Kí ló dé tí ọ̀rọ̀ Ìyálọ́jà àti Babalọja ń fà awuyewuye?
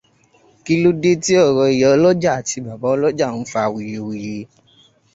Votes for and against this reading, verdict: 2, 0, accepted